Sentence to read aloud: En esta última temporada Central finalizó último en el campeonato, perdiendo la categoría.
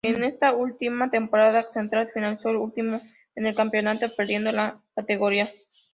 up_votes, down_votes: 0, 2